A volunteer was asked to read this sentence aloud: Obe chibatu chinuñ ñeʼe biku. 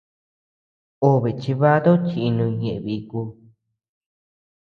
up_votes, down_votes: 2, 0